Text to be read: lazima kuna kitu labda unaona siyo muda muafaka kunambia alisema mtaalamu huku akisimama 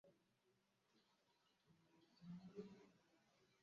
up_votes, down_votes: 0, 2